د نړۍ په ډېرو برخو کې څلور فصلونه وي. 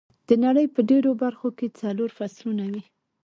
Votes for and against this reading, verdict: 0, 2, rejected